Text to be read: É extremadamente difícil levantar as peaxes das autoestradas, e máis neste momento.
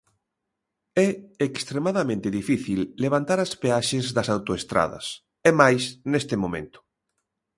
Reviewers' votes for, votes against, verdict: 2, 0, accepted